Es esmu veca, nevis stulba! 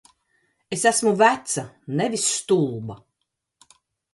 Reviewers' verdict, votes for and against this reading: accepted, 2, 0